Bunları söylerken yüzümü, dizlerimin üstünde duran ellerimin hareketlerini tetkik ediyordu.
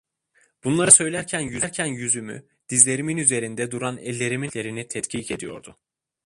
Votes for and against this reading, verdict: 0, 2, rejected